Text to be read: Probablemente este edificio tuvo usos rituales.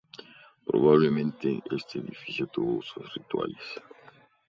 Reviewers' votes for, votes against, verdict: 2, 0, accepted